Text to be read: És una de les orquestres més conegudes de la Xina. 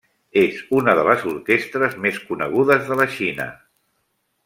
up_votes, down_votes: 3, 0